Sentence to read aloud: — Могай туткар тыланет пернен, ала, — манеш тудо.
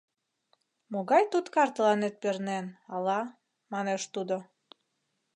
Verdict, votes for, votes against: accepted, 2, 0